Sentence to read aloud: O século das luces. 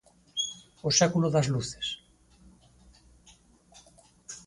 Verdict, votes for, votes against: accepted, 4, 0